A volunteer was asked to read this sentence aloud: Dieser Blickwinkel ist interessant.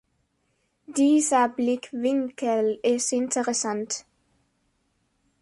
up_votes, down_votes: 2, 0